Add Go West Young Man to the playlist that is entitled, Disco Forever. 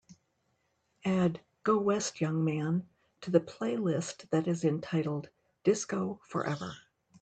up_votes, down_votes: 2, 0